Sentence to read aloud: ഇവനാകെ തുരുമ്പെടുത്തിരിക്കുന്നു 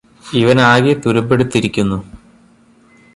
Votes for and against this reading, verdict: 2, 0, accepted